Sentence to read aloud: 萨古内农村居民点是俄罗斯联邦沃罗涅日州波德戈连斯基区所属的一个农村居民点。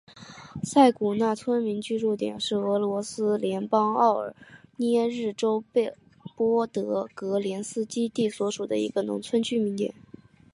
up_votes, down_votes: 4, 1